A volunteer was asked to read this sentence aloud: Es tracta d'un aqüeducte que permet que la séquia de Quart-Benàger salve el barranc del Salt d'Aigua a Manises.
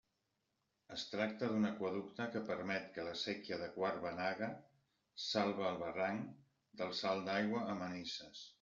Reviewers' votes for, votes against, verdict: 1, 2, rejected